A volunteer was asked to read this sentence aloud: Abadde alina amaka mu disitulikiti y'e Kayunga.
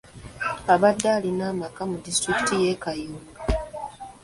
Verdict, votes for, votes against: accepted, 2, 0